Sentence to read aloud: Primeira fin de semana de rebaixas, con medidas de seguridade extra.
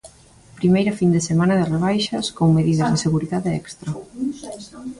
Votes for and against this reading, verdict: 2, 1, accepted